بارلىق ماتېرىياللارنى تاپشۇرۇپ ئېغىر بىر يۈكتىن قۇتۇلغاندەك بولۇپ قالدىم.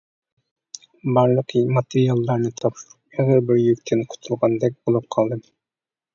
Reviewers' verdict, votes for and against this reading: rejected, 1, 2